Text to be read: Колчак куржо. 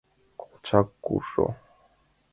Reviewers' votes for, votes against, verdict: 2, 0, accepted